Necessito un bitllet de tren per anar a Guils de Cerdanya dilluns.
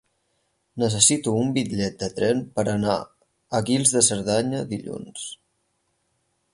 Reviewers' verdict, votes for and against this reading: accepted, 6, 0